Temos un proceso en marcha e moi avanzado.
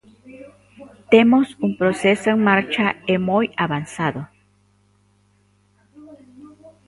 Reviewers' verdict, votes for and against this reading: rejected, 1, 2